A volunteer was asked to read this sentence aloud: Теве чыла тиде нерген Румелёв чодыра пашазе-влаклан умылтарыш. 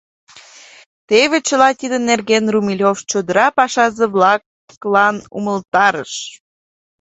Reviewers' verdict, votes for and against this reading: rejected, 1, 2